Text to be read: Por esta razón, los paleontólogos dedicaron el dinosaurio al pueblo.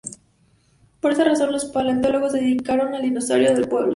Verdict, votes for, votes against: rejected, 2, 2